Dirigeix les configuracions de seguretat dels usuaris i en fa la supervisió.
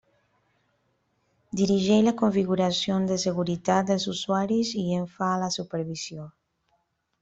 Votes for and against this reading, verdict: 1, 2, rejected